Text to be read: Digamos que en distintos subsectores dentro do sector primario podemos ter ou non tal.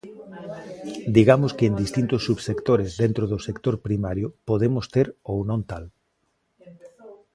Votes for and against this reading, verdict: 2, 0, accepted